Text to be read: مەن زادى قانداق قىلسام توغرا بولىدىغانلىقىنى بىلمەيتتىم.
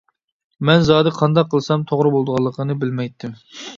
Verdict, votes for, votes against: accepted, 2, 0